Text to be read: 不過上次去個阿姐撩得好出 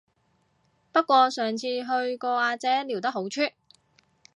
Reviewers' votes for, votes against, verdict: 2, 0, accepted